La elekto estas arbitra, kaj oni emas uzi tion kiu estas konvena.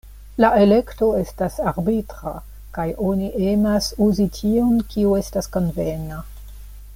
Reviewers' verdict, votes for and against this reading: accepted, 2, 0